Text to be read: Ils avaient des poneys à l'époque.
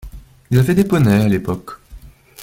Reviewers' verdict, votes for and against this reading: rejected, 0, 2